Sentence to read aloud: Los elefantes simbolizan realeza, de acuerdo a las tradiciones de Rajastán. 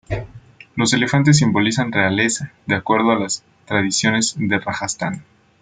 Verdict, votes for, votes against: accepted, 2, 1